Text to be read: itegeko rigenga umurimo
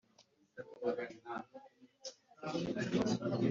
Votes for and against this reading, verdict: 2, 0, accepted